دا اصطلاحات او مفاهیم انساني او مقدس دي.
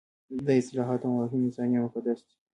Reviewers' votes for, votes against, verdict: 2, 0, accepted